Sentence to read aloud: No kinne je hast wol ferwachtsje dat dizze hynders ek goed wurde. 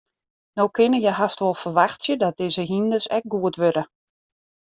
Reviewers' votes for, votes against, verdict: 2, 0, accepted